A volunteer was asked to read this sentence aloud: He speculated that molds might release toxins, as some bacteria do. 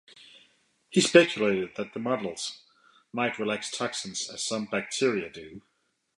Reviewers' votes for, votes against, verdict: 2, 0, accepted